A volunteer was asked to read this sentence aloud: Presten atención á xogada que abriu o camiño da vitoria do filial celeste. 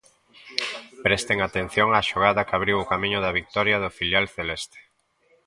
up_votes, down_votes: 1, 2